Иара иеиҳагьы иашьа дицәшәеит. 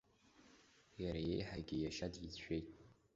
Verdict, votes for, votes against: accepted, 2, 0